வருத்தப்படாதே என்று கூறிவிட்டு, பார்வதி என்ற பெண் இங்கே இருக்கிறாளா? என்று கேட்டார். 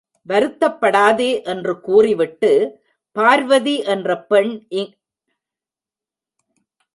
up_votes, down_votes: 0, 2